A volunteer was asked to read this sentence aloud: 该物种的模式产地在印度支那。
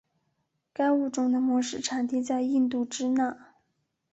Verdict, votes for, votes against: accepted, 2, 0